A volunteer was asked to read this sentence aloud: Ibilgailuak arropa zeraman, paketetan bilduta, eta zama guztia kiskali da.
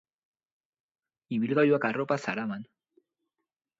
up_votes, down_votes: 0, 4